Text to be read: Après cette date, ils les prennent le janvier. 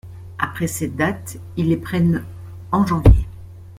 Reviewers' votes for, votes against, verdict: 0, 2, rejected